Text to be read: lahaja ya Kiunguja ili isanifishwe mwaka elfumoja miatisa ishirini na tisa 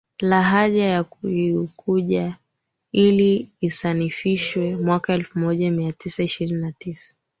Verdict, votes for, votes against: accepted, 3, 1